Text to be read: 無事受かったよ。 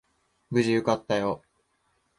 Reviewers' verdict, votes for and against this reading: accepted, 2, 0